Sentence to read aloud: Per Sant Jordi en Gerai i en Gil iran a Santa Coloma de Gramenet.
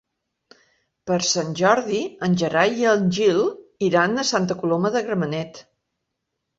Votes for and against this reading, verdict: 0, 2, rejected